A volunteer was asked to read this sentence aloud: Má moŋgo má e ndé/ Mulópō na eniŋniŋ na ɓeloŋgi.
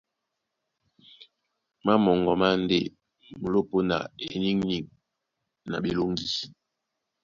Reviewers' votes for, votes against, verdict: 2, 0, accepted